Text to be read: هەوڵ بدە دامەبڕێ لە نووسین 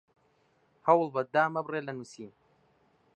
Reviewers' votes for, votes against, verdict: 1, 2, rejected